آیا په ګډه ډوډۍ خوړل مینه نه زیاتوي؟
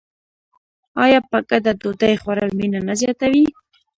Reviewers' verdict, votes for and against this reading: rejected, 0, 2